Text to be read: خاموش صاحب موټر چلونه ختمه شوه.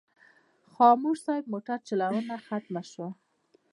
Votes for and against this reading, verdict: 2, 0, accepted